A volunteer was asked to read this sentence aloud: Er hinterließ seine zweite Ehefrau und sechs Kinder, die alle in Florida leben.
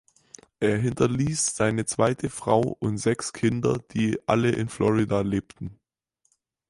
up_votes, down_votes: 0, 4